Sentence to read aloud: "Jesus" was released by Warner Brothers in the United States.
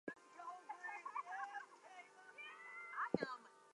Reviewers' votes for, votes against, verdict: 0, 2, rejected